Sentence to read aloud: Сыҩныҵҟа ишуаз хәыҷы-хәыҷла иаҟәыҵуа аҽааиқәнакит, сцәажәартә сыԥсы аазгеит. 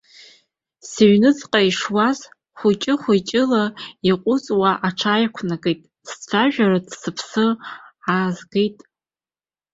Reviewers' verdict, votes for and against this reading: rejected, 2, 3